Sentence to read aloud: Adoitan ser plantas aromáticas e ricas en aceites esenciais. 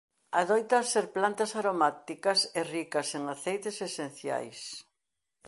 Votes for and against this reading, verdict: 2, 0, accepted